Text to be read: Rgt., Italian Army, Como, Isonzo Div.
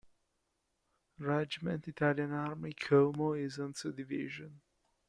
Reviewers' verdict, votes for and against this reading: rejected, 1, 2